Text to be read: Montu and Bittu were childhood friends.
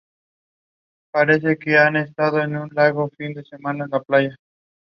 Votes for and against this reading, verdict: 0, 2, rejected